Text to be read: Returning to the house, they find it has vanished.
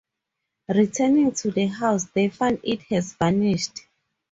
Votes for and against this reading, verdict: 2, 2, rejected